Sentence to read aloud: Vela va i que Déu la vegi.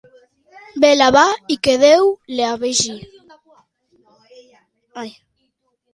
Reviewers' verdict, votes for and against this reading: accepted, 2, 0